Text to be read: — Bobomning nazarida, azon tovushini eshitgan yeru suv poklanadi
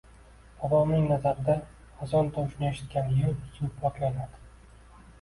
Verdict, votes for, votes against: rejected, 0, 2